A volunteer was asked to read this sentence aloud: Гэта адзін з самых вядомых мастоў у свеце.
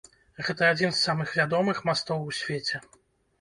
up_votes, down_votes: 3, 0